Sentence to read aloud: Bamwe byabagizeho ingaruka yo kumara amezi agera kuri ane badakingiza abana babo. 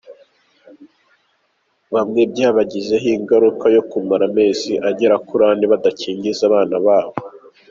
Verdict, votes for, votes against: accepted, 3, 2